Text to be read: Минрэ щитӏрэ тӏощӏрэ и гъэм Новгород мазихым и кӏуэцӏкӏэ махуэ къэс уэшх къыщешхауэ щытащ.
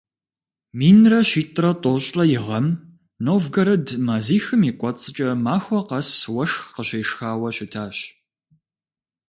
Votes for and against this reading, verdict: 2, 0, accepted